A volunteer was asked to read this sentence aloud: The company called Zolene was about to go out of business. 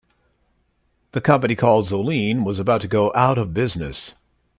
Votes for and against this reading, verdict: 1, 2, rejected